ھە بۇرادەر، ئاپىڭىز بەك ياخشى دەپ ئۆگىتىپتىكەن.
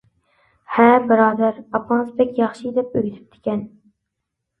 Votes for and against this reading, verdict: 2, 0, accepted